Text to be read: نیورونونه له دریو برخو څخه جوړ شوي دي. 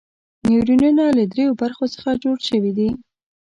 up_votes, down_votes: 2, 0